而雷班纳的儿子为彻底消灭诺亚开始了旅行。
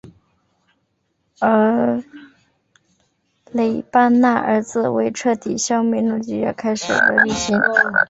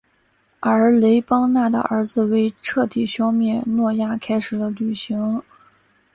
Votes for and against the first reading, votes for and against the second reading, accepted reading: 0, 2, 2, 0, second